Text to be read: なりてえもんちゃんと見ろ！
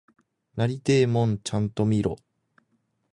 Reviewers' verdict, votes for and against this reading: accepted, 2, 0